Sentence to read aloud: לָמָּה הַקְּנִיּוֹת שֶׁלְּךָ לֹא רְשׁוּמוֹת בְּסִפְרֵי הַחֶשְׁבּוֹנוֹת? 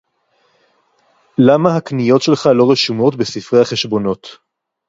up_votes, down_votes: 2, 2